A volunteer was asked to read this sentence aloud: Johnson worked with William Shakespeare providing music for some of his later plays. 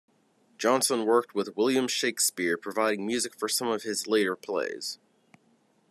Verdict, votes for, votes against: accepted, 2, 0